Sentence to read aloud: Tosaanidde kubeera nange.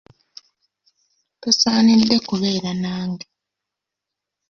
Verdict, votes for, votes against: accepted, 2, 0